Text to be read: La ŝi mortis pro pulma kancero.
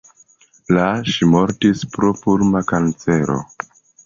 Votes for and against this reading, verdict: 2, 0, accepted